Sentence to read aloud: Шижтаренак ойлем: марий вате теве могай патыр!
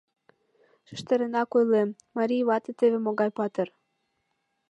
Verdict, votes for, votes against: accepted, 2, 0